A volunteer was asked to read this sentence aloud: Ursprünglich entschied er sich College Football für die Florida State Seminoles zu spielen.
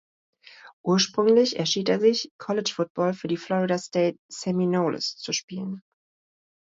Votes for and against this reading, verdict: 1, 2, rejected